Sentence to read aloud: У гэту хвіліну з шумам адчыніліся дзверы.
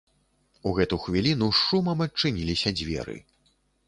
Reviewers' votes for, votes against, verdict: 2, 0, accepted